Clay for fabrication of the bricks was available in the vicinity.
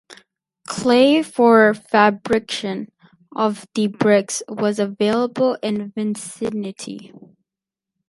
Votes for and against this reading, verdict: 0, 4, rejected